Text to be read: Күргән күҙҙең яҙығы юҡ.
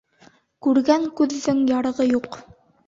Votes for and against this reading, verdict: 1, 3, rejected